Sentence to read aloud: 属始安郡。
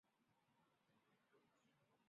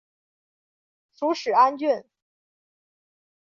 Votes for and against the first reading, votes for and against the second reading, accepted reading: 1, 2, 2, 0, second